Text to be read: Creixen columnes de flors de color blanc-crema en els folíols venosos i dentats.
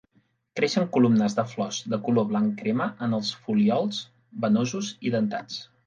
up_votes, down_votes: 2, 0